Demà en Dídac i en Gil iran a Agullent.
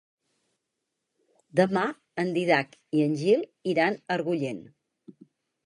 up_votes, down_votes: 2, 4